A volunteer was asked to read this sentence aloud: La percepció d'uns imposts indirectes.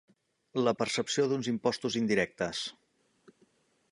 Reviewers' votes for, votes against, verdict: 1, 2, rejected